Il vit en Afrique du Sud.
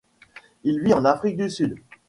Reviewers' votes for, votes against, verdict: 2, 0, accepted